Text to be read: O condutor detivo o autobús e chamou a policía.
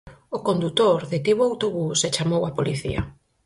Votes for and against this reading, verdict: 6, 0, accepted